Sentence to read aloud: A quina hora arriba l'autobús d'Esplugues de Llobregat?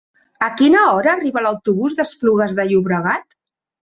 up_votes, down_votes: 3, 0